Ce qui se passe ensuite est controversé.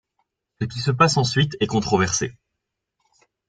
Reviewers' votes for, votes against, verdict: 2, 1, accepted